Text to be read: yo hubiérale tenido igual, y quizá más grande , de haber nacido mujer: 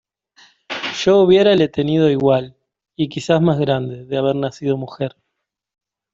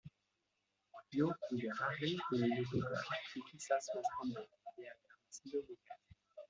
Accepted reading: first